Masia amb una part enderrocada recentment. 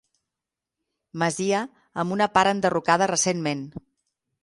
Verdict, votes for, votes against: accepted, 6, 0